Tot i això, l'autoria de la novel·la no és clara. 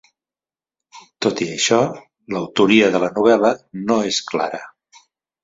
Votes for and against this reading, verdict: 3, 0, accepted